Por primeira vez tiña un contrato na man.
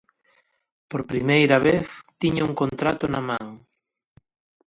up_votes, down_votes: 2, 0